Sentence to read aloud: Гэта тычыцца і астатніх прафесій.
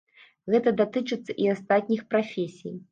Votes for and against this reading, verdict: 0, 2, rejected